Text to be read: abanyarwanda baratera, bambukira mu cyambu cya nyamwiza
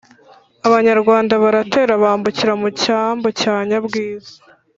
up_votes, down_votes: 1, 2